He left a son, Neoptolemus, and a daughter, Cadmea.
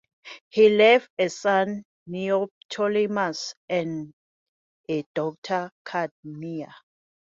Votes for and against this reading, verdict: 2, 0, accepted